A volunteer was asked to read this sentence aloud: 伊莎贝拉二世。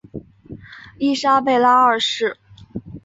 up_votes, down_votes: 2, 0